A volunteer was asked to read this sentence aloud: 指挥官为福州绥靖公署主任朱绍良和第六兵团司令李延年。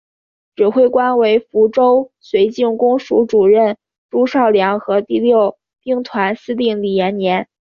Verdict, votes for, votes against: accepted, 2, 0